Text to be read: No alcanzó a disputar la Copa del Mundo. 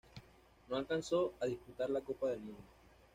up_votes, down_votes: 1, 2